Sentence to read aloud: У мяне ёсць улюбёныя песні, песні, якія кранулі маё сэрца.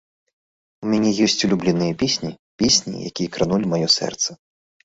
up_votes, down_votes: 0, 2